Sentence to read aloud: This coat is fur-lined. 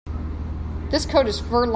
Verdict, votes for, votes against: rejected, 0, 3